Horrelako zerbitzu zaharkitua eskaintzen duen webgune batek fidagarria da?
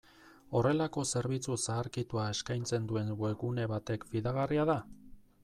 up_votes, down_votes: 2, 0